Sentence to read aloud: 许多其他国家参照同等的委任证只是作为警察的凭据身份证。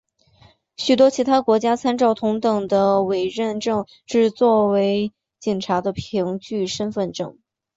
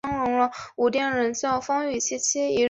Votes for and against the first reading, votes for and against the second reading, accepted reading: 2, 0, 0, 2, first